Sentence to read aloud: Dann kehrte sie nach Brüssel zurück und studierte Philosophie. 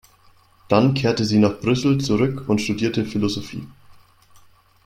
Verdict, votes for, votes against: accepted, 2, 0